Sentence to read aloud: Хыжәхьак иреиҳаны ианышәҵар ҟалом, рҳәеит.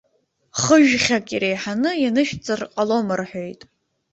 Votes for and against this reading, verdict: 0, 2, rejected